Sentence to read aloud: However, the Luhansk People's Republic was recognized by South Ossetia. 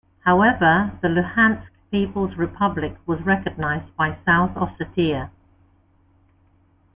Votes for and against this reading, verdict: 3, 0, accepted